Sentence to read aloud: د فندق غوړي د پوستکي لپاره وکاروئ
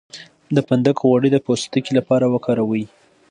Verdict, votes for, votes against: accepted, 2, 0